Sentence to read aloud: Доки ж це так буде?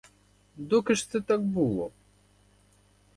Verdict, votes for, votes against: rejected, 0, 4